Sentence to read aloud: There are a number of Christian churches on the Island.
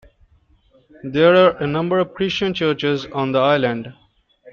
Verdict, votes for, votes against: rejected, 1, 2